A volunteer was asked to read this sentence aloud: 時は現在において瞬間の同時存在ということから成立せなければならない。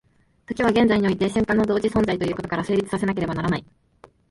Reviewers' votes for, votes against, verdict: 2, 1, accepted